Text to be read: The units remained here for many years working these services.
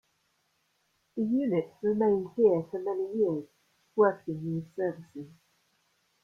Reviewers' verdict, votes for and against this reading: accepted, 2, 0